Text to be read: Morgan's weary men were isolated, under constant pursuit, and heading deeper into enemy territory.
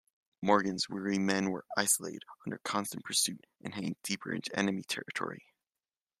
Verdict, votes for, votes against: accepted, 2, 1